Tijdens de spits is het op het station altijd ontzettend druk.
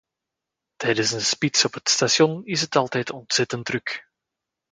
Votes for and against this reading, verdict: 0, 2, rejected